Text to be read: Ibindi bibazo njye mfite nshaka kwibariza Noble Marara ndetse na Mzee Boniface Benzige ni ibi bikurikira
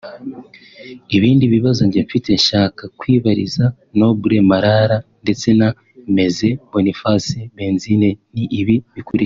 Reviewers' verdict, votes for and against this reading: accepted, 2, 1